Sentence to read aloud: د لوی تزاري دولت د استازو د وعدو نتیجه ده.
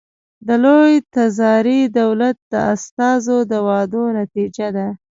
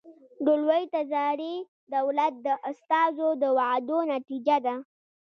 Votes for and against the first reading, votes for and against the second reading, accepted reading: 2, 0, 1, 2, first